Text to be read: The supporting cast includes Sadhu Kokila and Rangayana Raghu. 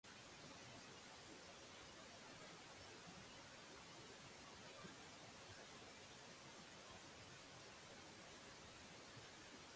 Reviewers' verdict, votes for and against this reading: rejected, 0, 2